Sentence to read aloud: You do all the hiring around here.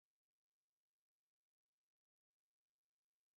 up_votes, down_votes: 0, 2